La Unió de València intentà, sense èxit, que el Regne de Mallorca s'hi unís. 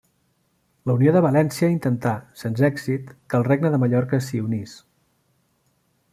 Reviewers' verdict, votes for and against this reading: rejected, 0, 2